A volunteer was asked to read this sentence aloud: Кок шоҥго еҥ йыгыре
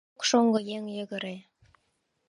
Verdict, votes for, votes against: rejected, 0, 2